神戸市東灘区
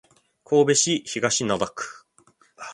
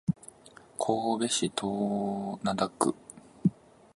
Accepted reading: first